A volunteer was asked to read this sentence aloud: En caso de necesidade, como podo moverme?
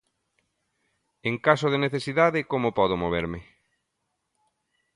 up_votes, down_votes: 2, 0